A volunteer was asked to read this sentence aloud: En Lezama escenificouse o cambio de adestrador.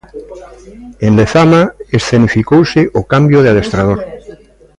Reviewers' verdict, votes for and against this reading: accepted, 2, 1